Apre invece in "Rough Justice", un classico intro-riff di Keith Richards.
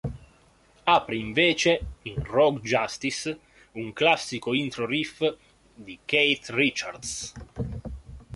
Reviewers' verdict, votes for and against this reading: accepted, 2, 0